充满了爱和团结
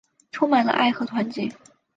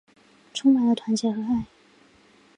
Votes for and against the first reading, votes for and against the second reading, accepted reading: 6, 0, 2, 3, first